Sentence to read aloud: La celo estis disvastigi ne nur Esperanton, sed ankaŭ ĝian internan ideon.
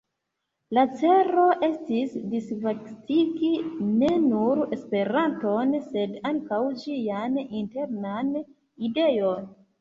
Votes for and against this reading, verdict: 0, 2, rejected